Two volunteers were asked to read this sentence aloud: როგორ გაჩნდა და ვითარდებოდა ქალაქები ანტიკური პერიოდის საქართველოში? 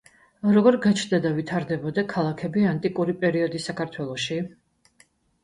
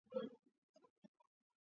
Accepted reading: first